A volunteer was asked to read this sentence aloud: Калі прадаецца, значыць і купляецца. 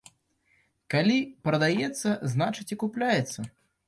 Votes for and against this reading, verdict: 2, 0, accepted